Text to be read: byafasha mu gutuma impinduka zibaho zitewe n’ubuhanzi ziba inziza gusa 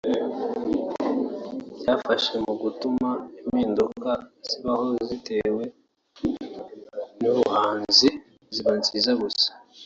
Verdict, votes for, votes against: rejected, 0, 2